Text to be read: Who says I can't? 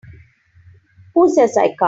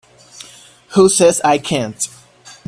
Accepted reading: second